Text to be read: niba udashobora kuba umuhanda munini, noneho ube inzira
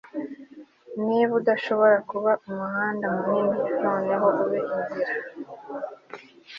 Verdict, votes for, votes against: accepted, 2, 0